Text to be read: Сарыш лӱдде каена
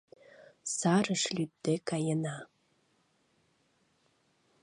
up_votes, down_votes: 2, 0